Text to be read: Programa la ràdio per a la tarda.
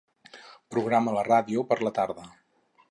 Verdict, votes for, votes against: rejected, 2, 2